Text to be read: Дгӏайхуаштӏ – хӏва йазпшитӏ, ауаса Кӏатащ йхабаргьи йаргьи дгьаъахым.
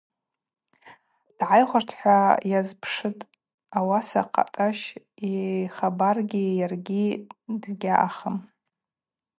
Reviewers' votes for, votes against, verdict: 2, 2, rejected